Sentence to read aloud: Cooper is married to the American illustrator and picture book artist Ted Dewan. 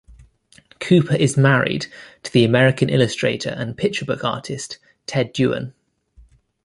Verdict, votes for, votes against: accepted, 2, 0